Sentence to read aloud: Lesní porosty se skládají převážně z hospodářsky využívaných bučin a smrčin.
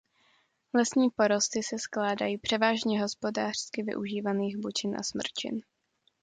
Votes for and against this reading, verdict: 0, 2, rejected